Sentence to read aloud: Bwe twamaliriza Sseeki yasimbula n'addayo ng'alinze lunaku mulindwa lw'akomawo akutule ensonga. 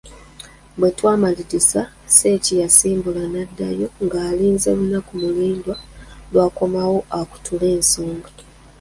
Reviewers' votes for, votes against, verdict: 0, 2, rejected